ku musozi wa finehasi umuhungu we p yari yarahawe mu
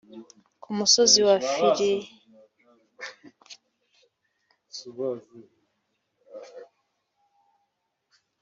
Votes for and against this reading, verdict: 1, 3, rejected